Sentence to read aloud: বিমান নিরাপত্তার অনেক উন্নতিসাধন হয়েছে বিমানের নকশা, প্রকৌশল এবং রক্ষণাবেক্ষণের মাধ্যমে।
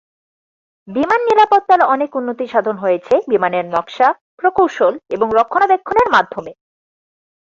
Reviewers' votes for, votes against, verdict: 4, 0, accepted